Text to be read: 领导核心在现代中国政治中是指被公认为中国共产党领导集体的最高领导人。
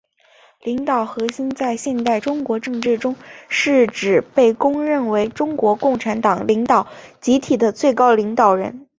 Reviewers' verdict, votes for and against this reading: accepted, 4, 0